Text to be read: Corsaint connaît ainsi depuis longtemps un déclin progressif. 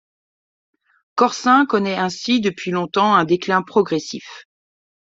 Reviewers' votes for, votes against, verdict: 1, 2, rejected